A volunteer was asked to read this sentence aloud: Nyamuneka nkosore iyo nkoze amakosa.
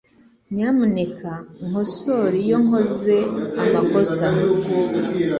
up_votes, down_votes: 2, 0